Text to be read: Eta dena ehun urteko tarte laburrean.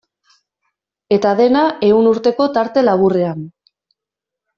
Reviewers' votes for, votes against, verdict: 2, 0, accepted